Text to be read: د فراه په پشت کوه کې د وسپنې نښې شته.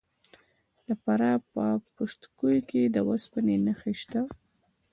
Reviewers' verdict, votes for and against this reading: accepted, 2, 0